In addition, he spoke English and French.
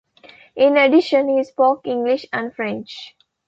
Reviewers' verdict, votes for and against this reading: accepted, 2, 0